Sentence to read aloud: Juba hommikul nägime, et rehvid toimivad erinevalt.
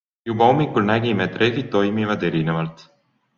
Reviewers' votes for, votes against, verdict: 2, 0, accepted